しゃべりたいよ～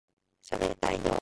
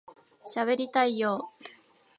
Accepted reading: second